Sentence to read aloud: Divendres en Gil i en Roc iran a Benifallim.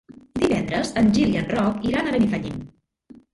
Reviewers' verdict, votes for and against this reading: rejected, 1, 2